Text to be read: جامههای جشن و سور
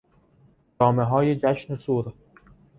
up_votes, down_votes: 2, 0